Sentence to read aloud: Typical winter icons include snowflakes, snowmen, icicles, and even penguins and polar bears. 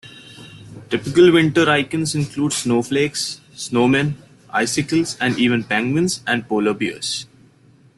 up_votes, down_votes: 1, 2